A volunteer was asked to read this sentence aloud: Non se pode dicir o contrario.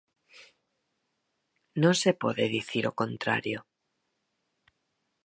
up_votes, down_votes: 4, 0